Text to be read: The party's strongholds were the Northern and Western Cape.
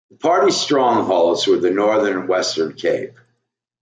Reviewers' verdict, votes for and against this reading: rejected, 0, 2